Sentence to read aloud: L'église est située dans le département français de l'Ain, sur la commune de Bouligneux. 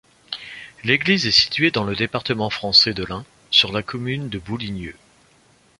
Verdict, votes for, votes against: accepted, 2, 1